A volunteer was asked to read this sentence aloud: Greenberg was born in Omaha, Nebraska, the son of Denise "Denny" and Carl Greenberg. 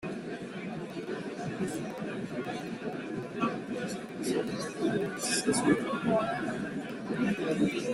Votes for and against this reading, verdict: 0, 2, rejected